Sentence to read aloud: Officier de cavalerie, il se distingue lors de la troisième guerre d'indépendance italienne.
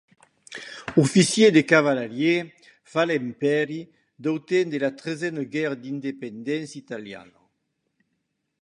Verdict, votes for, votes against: rejected, 1, 2